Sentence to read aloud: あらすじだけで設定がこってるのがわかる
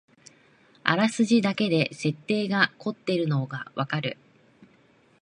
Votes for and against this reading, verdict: 2, 0, accepted